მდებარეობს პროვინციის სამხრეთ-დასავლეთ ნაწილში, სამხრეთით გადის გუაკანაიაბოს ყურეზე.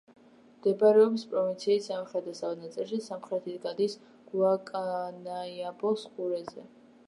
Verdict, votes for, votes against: rejected, 0, 2